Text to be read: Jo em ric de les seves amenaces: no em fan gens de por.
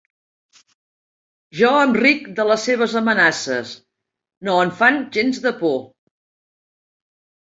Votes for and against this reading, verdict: 2, 0, accepted